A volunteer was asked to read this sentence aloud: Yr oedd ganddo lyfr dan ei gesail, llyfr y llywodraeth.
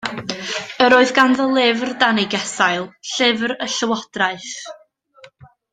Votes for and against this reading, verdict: 2, 0, accepted